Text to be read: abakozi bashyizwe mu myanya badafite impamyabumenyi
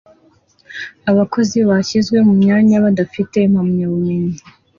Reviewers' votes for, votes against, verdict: 2, 0, accepted